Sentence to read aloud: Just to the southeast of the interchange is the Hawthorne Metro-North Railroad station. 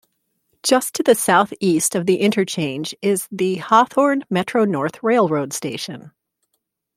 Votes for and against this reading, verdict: 2, 0, accepted